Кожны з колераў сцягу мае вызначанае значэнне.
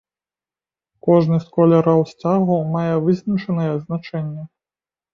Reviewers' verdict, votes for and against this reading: accepted, 2, 0